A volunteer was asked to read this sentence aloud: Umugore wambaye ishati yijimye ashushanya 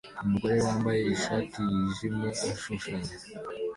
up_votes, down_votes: 2, 0